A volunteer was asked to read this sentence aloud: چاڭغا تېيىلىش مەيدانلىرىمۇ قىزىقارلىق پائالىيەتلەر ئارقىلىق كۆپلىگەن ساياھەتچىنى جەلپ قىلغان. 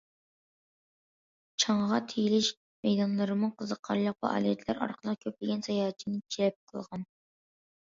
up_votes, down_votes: 2, 0